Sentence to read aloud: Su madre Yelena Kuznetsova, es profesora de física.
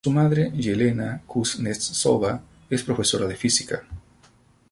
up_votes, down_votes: 0, 2